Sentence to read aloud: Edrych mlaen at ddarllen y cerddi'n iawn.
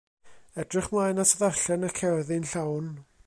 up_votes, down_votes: 0, 2